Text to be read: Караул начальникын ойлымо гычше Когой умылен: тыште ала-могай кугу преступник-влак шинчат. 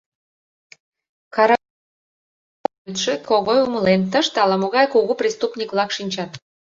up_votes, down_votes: 0, 2